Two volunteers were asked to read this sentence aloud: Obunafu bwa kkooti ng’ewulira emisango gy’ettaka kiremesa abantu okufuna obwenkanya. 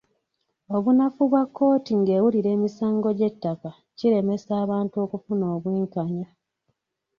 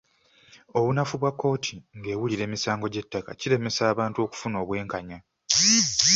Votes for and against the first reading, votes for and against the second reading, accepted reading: 1, 2, 2, 0, second